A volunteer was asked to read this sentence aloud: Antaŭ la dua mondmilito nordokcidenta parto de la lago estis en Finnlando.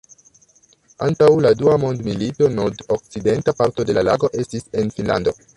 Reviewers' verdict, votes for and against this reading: rejected, 0, 2